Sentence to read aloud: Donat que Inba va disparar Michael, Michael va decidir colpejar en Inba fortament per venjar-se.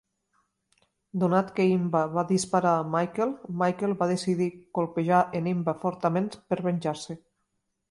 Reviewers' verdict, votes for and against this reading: accepted, 3, 0